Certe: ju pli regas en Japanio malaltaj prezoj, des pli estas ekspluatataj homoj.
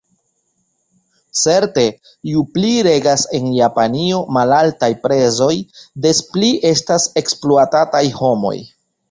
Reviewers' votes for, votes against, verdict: 2, 1, accepted